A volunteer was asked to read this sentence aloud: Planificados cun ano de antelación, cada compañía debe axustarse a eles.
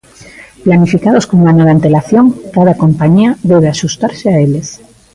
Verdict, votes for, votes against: rejected, 0, 2